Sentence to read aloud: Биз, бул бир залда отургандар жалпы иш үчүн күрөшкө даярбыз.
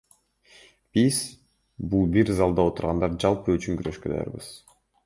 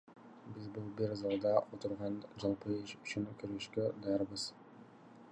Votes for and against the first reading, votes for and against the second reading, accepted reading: 2, 0, 1, 2, first